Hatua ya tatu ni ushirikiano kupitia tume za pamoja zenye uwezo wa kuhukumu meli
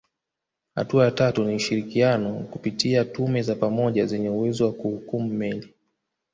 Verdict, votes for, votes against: accepted, 2, 1